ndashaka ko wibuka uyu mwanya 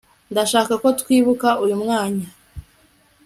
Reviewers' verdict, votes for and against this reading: rejected, 0, 2